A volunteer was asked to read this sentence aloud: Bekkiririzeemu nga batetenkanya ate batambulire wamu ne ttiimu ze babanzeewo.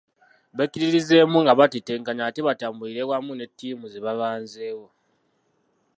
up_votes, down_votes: 0, 2